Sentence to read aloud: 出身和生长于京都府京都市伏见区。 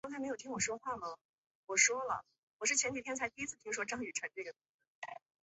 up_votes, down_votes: 0, 5